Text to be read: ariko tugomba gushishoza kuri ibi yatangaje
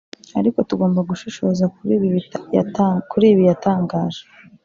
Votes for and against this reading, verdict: 0, 2, rejected